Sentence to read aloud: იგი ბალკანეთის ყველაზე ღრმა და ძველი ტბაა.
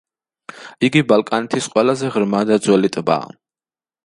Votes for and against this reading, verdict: 2, 0, accepted